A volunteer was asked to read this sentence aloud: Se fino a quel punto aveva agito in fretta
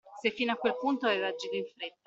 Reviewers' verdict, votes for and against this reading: rejected, 1, 2